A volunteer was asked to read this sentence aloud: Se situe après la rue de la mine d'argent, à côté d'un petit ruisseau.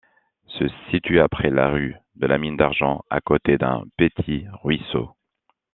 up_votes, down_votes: 1, 2